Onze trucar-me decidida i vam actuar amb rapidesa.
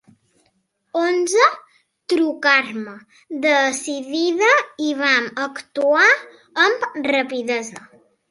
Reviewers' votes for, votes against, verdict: 2, 0, accepted